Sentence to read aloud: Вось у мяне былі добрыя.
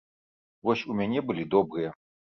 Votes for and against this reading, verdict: 0, 2, rejected